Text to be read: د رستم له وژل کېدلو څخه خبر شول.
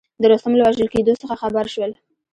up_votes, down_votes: 2, 0